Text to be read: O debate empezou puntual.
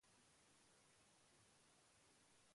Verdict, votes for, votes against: rejected, 0, 2